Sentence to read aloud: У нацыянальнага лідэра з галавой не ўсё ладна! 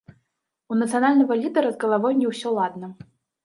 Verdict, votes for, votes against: rejected, 0, 2